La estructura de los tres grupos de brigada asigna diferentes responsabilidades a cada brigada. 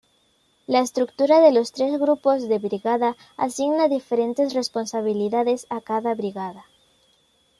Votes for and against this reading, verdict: 2, 0, accepted